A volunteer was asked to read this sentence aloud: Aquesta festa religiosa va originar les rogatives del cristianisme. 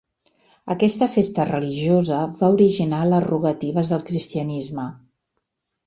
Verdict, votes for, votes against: accepted, 2, 0